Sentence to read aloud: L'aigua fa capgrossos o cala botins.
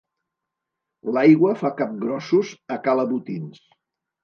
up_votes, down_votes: 1, 2